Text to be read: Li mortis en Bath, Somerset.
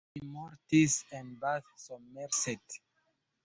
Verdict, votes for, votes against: rejected, 0, 2